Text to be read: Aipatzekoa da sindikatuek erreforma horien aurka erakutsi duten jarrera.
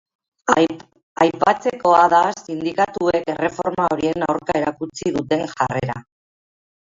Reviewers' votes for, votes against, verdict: 0, 2, rejected